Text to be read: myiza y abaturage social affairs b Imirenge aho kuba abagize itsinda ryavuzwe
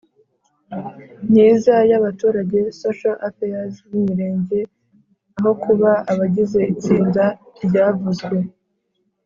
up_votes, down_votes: 4, 0